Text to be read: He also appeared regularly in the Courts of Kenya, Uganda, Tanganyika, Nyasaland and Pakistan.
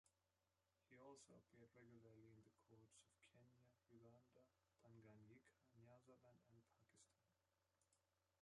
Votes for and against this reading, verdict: 1, 2, rejected